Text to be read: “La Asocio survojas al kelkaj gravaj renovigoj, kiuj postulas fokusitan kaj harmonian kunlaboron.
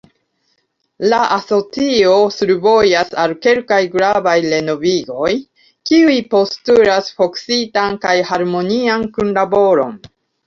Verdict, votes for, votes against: accepted, 2, 0